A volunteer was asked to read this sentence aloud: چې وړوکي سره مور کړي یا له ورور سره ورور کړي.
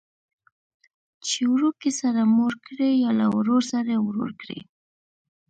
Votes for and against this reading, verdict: 0, 2, rejected